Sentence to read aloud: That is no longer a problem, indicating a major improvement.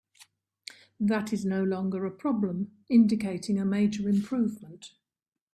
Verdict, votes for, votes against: accepted, 2, 0